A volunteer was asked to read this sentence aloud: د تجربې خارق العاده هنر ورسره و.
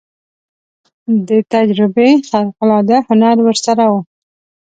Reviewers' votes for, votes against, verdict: 1, 2, rejected